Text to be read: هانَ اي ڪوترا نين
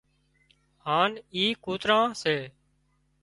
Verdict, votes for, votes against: rejected, 0, 2